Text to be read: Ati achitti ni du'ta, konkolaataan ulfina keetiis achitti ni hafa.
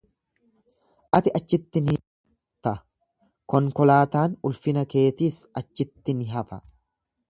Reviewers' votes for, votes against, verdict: 1, 2, rejected